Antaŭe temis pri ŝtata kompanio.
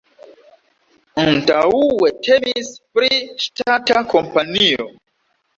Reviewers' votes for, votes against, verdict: 0, 2, rejected